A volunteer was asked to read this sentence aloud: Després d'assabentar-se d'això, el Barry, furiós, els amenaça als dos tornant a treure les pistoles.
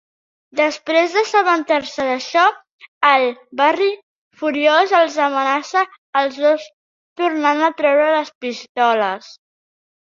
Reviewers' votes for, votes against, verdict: 1, 2, rejected